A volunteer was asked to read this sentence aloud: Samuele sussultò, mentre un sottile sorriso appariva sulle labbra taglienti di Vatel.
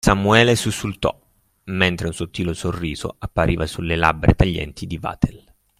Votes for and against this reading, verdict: 3, 1, accepted